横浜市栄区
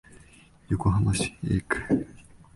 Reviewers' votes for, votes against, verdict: 2, 3, rejected